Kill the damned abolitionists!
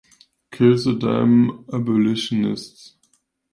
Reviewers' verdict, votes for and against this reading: rejected, 1, 2